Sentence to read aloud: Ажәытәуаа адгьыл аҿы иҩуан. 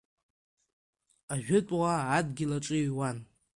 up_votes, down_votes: 2, 1